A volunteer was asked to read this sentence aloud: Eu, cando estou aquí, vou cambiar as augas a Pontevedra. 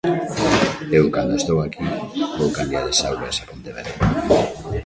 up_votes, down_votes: 1, 2